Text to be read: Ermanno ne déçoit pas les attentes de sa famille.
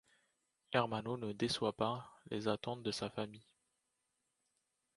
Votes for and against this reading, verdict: 2, 0, accepted